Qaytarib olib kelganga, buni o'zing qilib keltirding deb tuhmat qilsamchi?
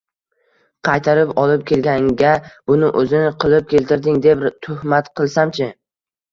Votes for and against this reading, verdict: 2, 1, accepted